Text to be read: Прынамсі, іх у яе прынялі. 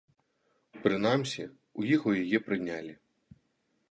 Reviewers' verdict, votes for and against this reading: rejected, 0, 2